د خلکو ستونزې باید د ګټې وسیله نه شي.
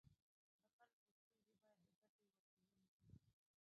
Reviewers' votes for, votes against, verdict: 2, 1, accepted